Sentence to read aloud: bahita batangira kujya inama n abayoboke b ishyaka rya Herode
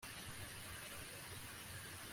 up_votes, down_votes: 0, 2